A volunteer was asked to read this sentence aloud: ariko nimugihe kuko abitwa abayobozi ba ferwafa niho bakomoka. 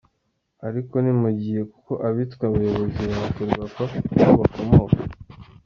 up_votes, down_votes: 2, 0